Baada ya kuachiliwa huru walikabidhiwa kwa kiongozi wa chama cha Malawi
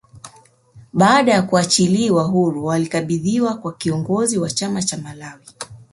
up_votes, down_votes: 2, 1